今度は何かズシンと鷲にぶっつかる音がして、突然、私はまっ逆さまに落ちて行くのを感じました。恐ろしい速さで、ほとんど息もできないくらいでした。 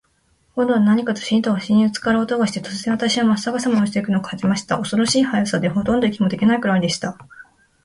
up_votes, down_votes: 31, 12